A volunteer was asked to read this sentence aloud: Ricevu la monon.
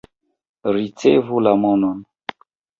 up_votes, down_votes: 2, 0